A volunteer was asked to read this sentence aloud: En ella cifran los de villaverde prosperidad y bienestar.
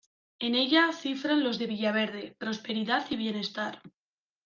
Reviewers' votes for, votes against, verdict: 2, 0, accepted